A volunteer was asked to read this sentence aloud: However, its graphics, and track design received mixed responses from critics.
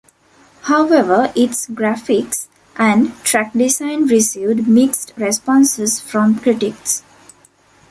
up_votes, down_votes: 2, 0